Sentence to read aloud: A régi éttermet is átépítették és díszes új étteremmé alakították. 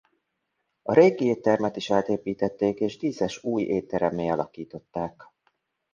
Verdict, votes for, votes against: accepted, 2, 0